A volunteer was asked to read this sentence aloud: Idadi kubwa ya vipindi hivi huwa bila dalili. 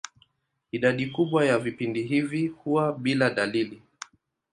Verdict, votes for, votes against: accepted, 2, 0